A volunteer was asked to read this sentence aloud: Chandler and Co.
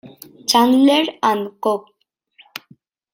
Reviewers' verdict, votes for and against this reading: rejected, 1, 2